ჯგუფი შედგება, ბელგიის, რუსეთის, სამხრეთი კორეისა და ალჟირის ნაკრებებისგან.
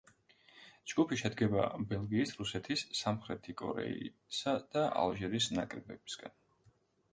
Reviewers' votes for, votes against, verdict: 2, 0, accepted